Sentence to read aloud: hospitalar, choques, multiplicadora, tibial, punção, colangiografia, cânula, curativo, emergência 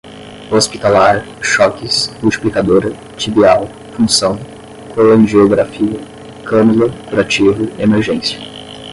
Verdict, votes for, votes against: rejected, 5, 5